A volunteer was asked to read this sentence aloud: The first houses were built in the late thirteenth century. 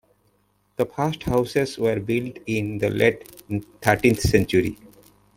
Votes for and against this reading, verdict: 2, 1, accepted